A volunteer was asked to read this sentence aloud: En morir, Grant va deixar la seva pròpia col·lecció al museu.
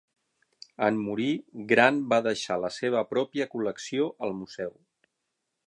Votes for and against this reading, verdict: 6, 0, accepted